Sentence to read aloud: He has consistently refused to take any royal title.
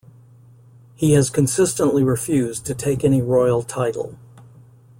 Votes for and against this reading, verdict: 2, 0, accepted